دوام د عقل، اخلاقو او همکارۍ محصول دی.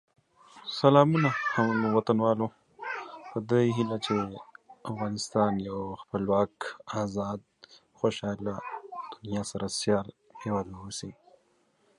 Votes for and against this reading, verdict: 1, 2, rejected